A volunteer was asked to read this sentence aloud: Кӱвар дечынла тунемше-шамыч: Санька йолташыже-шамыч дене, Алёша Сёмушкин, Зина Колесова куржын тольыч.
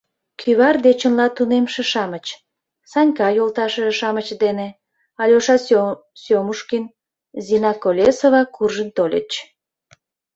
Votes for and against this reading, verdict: 0, 2, rejected